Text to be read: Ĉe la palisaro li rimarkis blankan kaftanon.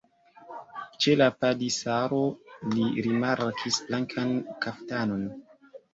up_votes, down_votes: 1, 2